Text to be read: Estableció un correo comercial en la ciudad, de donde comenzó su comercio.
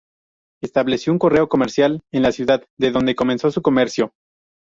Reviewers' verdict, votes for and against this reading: accepted, 2, 0